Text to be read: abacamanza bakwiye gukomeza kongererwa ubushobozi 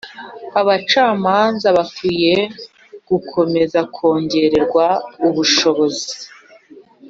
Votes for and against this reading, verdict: 3, 0, accepted